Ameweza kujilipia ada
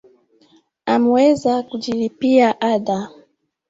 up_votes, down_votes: 1, 2